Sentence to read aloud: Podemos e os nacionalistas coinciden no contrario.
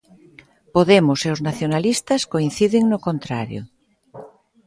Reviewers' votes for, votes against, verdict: 2, 0, accepted